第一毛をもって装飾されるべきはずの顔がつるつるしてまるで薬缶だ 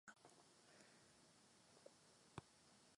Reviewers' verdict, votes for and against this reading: rejected, 0, 2